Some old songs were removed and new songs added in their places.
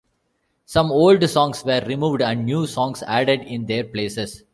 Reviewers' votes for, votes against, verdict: 2, 0, accepted